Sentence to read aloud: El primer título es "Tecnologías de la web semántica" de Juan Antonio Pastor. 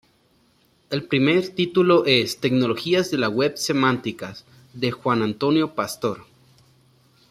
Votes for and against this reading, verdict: 1, 2, rejected